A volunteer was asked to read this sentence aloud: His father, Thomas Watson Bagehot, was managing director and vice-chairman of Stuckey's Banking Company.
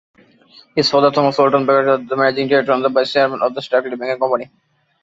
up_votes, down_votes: 0, 2